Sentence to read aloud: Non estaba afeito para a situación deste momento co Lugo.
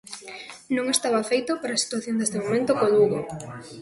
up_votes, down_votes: 2, 0